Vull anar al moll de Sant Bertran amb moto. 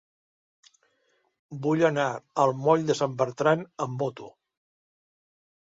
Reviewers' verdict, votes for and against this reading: accepted, 3, 0